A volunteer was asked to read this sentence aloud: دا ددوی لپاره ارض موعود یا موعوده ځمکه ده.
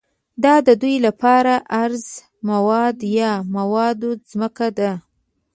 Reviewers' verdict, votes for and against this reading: rejected, 1, 2